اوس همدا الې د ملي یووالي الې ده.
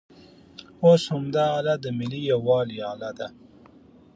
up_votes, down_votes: 2, 0